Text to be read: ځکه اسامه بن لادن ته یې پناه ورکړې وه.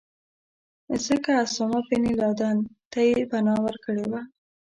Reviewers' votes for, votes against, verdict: 2, 0, accepted